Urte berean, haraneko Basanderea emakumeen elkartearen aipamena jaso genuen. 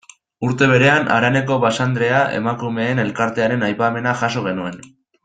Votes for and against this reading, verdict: 2, 0, accepted